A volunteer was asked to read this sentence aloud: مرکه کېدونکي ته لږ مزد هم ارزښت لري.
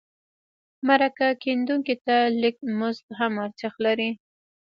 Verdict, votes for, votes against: rejected, 1, 2